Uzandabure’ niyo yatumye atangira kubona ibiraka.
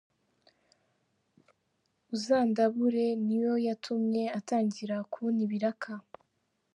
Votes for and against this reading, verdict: 3, 1, accepted